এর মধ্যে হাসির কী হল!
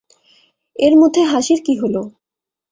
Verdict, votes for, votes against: accepted, 2, 0